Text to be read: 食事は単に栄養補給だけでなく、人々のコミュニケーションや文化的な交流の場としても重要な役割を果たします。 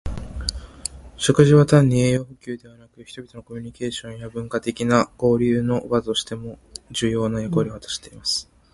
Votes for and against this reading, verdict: 1, 2, rejected